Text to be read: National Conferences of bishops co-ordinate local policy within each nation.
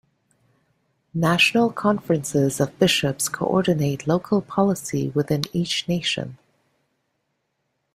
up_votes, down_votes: 2, 0